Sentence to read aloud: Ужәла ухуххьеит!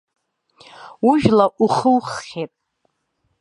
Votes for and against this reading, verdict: 1, 2, rejected